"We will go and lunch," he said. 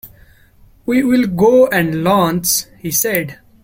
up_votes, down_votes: 1, 2